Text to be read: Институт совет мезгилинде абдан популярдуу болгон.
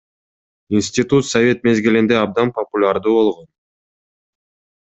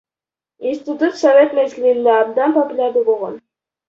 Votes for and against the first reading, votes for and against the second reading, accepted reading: 2, 0, 0, 2, first